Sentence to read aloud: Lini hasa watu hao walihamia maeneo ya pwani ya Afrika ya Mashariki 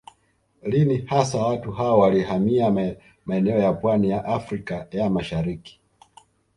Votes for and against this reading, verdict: 1, 2, rejected